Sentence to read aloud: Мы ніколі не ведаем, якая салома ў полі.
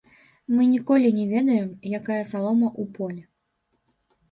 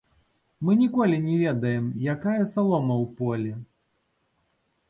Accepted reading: second